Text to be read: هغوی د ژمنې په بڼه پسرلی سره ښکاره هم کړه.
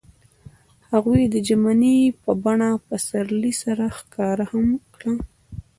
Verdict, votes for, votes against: rejected, 0, 2